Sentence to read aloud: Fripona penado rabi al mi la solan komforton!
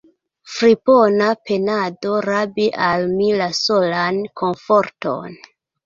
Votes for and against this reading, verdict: 2, 0, accepted